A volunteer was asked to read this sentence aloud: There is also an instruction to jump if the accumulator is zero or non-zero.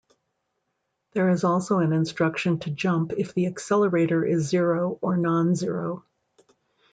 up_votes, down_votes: 0, 2